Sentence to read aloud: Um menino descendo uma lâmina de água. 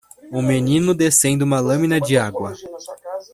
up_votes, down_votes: 2, 0